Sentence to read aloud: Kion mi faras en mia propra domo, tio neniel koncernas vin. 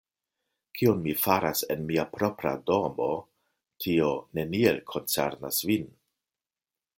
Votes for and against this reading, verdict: 2, 0, accepted